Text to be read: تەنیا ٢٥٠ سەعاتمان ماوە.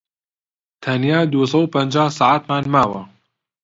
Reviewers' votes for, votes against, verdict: 0, 2, rejected